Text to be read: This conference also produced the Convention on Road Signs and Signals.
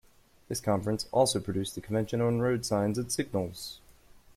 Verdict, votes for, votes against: rejected, 0, 2